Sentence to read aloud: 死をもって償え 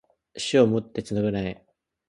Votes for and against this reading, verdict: 2, 0, accepted